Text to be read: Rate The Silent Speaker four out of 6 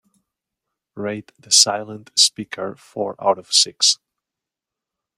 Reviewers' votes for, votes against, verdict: 0, 2, rejected